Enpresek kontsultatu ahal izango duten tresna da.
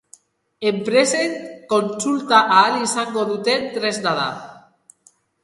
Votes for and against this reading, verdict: 2, 0, accepted